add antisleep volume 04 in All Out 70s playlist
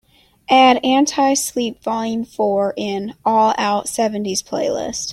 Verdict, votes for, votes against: rejected, 0, 2